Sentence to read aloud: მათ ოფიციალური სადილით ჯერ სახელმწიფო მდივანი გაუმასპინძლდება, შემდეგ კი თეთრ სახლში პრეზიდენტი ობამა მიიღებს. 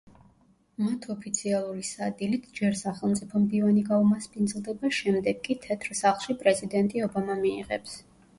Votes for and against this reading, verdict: 2, 0, accepted